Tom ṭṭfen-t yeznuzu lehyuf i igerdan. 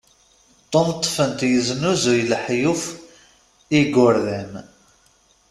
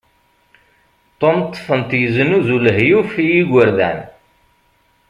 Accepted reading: second